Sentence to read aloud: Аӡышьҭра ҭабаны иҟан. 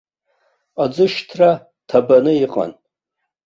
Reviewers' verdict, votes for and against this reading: accepted, 2, 0